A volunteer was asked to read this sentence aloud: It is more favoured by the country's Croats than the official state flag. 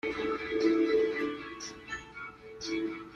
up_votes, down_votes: 0, 2